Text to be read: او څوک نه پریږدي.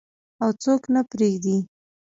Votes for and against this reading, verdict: 1, 2, rejected